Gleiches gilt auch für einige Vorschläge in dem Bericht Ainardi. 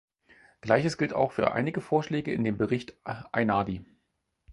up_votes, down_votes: 2, 4